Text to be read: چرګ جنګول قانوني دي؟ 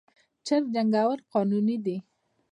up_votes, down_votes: 2, 0